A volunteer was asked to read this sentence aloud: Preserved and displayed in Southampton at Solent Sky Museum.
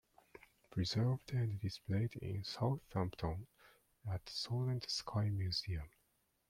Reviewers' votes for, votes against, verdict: 2, 1, accepted